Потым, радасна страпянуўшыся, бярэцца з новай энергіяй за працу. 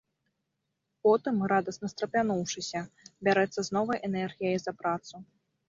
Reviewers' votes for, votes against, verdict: 2, 0, accepted